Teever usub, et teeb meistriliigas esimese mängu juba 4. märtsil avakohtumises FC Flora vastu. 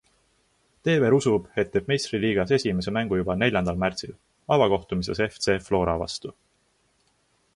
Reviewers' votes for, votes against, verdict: 0, 2, rejected